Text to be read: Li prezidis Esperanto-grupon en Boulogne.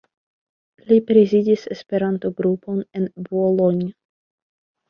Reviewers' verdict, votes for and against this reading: accepted, 2, 0